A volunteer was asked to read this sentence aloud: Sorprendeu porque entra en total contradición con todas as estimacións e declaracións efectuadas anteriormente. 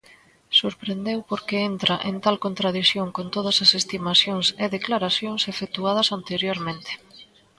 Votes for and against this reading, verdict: 1, 2, rejected